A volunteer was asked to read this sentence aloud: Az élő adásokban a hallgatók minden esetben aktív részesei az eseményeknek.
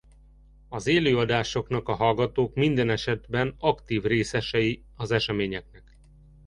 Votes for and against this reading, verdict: 0, 2, rejected